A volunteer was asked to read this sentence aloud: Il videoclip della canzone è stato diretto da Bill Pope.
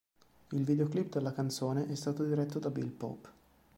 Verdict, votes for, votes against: accepted, 2, 0